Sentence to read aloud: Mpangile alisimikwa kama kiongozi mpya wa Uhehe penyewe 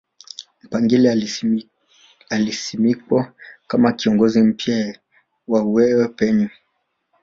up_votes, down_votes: 1, 2